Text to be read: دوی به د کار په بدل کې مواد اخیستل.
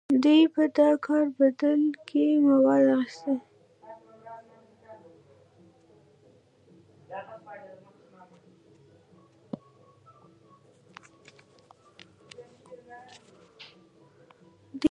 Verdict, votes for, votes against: rejected, 0, 2